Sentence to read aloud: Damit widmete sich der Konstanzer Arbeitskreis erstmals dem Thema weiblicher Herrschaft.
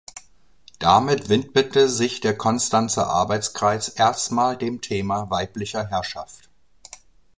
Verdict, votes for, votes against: rejected, 1, 2